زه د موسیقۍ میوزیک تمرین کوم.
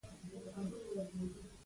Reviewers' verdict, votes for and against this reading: accepted, 2, 0